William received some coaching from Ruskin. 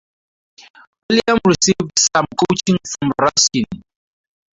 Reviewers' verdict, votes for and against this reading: accepted, 4, 0